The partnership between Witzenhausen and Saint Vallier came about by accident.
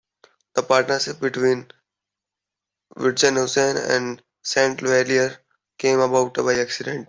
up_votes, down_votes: 1, 2